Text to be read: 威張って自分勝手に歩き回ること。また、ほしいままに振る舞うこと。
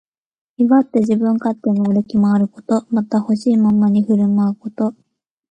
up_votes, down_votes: 1, 2